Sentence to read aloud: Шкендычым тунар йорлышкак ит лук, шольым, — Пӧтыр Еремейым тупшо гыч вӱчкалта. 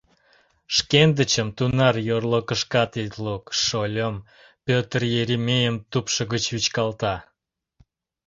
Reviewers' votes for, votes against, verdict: 0, 2, rejected